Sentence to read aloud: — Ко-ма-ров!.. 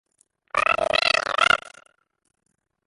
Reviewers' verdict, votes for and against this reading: rejected, 0, 2